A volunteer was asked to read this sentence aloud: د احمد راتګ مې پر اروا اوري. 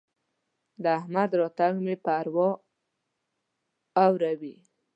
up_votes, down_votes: 0, 2